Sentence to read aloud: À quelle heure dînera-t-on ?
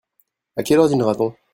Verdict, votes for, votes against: accepted, 2, 1